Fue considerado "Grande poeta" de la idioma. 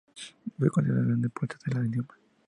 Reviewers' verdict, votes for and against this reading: rejected, 0, 2